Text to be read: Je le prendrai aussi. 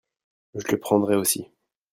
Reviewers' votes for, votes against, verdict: 1, 2, rejected